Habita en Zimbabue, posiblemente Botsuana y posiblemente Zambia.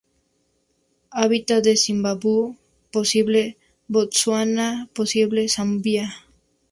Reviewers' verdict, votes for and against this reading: rejected, 0, 4